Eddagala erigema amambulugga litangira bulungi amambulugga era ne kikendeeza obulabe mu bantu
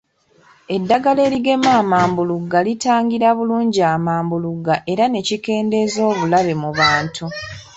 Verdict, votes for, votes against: accepted, 3, 0